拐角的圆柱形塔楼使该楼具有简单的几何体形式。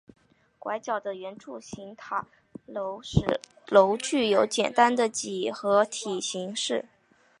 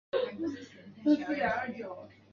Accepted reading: first